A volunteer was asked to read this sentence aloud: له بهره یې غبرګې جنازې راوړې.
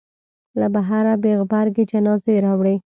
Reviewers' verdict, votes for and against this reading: rejected, 0, 2